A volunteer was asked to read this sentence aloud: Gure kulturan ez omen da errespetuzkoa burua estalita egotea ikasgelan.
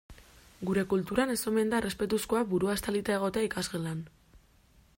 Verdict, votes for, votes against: accepted, 2, 0